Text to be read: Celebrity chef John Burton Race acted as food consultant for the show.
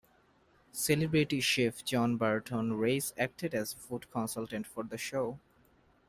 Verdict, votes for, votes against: accepted, 2, 0